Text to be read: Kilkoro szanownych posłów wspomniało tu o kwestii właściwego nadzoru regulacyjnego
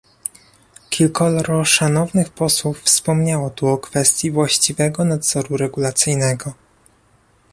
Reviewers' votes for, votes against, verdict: 2, 1, accepted